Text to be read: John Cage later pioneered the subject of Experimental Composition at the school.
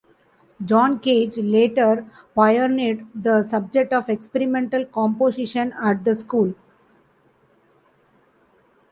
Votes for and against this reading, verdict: 2, 0, accepted